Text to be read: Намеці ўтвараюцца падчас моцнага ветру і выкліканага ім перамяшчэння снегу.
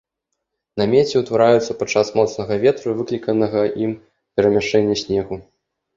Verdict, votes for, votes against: accepted, 3, 0